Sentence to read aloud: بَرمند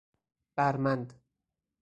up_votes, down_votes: 4, 0